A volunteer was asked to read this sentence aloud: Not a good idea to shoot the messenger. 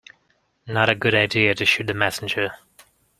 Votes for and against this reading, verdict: 2, 0, accepted